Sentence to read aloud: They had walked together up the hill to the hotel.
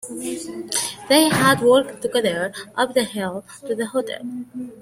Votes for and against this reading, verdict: 1, 2, rejected